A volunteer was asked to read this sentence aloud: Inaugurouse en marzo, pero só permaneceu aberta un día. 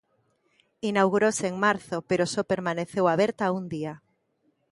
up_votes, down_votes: 2, 0